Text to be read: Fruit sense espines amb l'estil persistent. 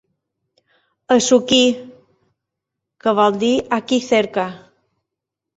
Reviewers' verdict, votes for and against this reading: rejected, 1, 2